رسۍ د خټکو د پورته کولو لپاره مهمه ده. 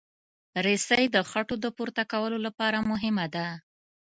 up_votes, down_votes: 0, 2